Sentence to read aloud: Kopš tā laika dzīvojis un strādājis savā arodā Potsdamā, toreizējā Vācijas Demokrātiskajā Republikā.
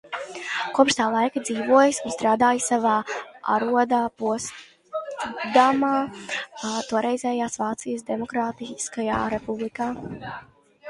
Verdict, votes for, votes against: rejected, 0, 2